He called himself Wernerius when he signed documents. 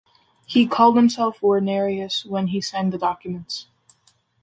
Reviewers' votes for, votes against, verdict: 2, 0, accepted